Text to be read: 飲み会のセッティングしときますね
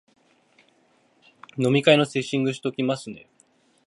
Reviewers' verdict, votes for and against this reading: rejected, 1, 2